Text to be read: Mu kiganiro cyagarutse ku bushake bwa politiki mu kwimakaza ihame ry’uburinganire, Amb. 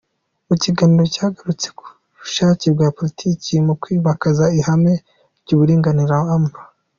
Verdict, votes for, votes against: accepted, 2, 0